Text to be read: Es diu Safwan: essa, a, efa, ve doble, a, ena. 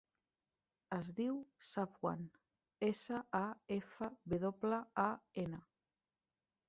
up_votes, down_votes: 4, 0